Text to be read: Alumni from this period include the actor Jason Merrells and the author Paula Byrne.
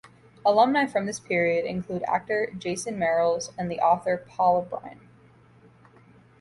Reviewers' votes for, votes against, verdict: 0, 2, rejected